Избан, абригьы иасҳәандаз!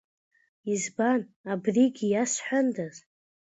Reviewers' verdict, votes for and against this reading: accepted, 2, 1